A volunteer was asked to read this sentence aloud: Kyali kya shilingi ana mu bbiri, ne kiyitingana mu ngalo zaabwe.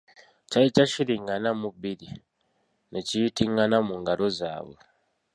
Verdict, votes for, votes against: accepted, 2, 1